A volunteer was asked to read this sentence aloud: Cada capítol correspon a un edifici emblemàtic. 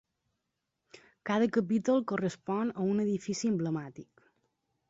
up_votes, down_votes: 2, 0